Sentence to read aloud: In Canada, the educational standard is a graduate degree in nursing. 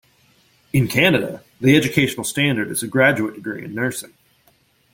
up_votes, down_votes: 0, 2